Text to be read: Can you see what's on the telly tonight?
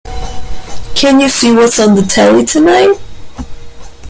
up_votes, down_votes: 2, 1